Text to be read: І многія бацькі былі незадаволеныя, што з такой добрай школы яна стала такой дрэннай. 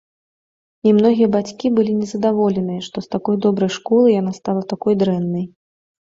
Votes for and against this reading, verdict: 2, 0, accepted